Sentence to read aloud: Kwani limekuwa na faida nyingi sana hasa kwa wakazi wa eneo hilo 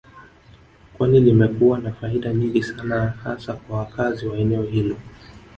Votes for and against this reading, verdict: 2, 0, accepted